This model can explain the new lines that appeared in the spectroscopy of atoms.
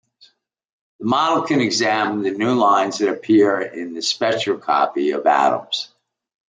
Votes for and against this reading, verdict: 0, 2, rejected